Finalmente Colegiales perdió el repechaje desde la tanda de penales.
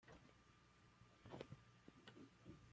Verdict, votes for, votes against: rejected, 0, 2